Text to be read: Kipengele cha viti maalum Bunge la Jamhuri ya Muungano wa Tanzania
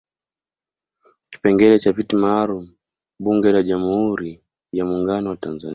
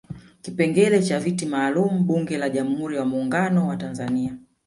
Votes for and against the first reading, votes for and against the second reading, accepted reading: 2, 0, 0, 2, first